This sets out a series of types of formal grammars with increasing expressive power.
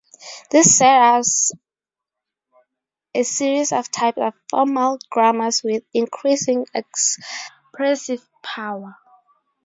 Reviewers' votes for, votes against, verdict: 0, 2, rejected